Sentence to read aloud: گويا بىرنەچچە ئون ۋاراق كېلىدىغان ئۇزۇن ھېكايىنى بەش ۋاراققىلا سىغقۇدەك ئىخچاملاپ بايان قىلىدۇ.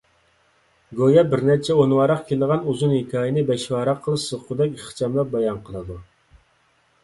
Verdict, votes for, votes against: accepted, 2, 0